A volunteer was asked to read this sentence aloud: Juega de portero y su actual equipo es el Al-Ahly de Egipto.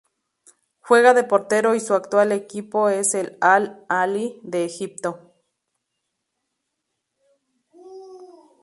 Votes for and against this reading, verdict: 0, 2, rejected